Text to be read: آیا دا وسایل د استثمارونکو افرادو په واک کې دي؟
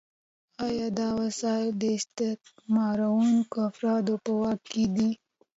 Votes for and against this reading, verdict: 1, 2, rejected